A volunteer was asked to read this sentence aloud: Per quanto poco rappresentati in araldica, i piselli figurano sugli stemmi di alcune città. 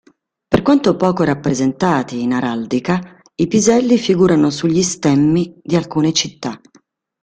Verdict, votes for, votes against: accepted, 2, 0